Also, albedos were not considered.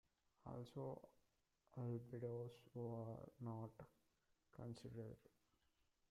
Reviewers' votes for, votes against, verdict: 1, 2, rejected